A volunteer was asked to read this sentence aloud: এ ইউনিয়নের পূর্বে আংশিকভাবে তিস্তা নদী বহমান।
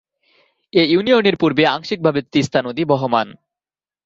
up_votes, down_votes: 2, 0